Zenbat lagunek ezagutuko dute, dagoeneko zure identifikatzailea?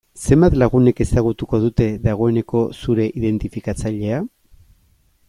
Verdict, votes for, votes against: accepted, 2, 0